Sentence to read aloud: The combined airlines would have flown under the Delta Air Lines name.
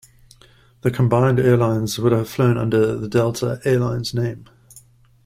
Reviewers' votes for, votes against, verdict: 2, 0, accepted